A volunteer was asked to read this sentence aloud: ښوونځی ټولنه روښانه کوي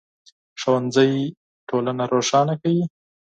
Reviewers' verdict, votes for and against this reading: accepted, 4, 0